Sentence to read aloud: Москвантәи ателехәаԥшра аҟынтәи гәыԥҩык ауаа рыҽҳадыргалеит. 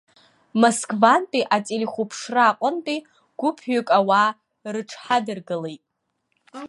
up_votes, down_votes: 0, 2